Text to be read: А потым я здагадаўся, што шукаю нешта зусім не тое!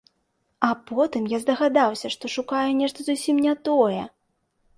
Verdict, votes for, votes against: accepted, 2, 0